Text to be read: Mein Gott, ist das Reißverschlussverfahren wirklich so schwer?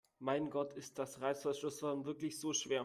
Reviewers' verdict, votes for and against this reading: rejected, 1, 2